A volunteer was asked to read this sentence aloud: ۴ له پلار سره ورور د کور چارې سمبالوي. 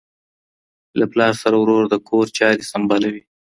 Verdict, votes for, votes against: rejected, 0, 2